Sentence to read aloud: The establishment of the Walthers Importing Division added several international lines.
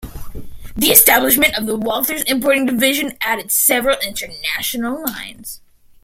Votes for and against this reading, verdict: 0, 2, rejected